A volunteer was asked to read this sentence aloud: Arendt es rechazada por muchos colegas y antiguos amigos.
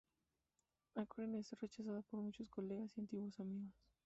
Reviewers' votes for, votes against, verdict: 0, 2, rejected